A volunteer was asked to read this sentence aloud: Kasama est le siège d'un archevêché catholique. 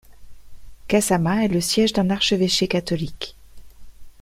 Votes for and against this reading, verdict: 2, 0, accepted